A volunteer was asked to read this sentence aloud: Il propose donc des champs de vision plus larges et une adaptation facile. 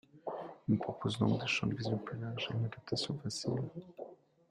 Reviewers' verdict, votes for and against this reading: rejected, 1, 2